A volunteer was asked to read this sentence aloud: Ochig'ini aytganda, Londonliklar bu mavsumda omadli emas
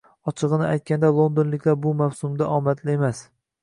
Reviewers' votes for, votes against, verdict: 2, 0, accepted